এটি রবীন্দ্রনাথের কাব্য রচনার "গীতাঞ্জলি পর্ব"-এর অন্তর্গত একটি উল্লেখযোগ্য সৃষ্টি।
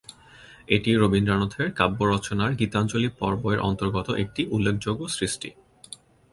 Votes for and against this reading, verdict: 1, 2, rejected